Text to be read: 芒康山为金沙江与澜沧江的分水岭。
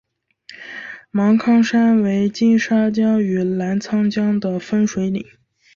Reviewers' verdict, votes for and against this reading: accepted, 2, 0